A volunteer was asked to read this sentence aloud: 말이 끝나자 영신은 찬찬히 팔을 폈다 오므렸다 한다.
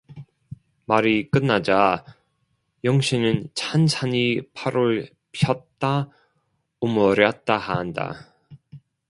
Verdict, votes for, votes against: rejected, 1, 2